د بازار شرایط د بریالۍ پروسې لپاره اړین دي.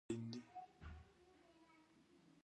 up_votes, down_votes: 0, 3